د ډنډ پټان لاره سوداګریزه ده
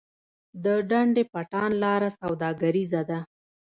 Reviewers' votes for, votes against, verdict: 2, 0, accepted